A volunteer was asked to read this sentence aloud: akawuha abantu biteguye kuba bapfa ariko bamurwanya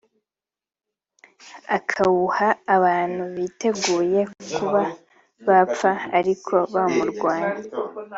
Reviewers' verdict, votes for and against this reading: accepted, 3, 0